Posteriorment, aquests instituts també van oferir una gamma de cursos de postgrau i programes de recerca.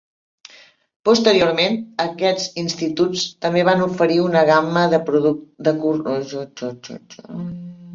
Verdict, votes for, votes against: rejected, 0, 2